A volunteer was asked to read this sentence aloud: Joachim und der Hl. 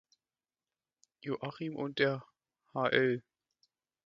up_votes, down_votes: 2, 1